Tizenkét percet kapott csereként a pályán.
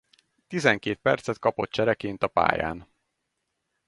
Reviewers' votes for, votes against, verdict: 4, 0, accepted